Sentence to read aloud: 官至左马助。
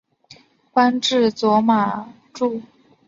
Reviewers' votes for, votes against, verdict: 4, 1, accepted